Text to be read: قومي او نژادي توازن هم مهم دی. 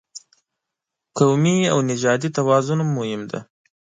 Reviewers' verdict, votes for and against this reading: accepted, 2, 0